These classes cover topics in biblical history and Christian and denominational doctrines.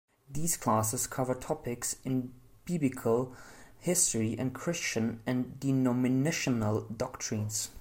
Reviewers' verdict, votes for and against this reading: rejected, 1, 2